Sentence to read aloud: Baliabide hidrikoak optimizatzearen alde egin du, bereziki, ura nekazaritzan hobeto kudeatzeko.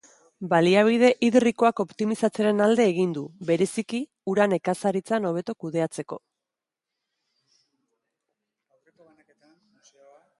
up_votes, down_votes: 1, 2